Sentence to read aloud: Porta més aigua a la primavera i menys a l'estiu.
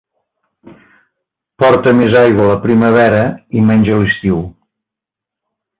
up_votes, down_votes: 1, 2